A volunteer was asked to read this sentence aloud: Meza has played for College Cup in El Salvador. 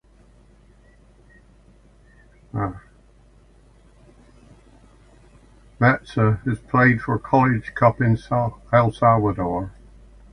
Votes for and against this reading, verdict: 0, 2, rejected